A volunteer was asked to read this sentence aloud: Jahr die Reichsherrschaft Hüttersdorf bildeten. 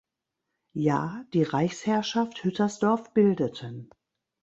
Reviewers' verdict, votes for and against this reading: rejected, 1, 2